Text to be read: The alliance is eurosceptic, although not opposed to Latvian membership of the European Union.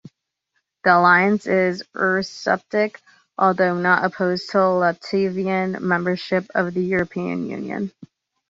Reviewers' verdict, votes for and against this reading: rejected, 0, 2